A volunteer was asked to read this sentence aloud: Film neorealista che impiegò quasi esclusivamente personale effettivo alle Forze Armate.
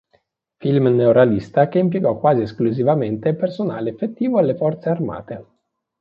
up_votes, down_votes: 2, 0